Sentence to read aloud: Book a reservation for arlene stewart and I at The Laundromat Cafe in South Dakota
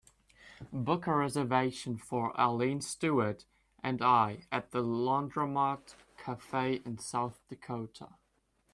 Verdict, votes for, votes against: accepted, 2, 0